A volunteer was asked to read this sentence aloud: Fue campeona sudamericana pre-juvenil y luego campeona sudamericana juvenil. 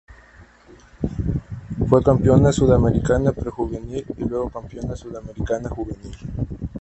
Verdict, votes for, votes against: accepted, 2, 0